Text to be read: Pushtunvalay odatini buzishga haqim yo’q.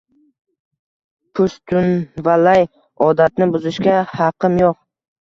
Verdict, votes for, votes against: accepted, 2, 0